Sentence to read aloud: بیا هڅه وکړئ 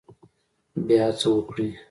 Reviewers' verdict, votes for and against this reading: accepted, 2, 0